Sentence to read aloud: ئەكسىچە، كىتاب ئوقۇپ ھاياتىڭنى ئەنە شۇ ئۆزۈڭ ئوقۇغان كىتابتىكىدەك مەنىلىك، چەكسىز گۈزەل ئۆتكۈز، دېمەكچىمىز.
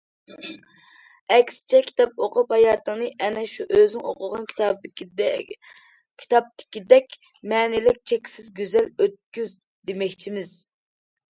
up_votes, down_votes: 0, 2